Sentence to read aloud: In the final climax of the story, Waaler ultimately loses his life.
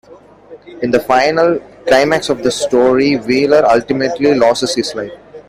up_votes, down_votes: 1, 2